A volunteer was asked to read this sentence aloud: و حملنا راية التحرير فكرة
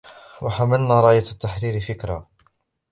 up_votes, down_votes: 1, 2